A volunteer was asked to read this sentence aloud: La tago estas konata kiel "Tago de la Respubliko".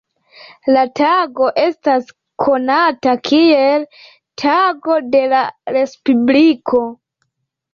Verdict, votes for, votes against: rejected, 0, 2